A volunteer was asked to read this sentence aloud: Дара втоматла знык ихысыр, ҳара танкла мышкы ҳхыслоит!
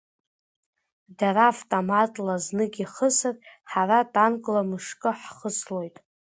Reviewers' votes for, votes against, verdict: 2, 0, accepted